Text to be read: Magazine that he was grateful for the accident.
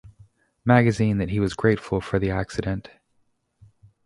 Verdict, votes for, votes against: accepted, 2, 0